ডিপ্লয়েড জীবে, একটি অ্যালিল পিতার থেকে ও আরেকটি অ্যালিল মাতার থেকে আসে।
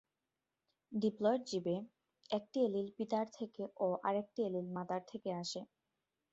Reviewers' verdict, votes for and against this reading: accepted, 2, 0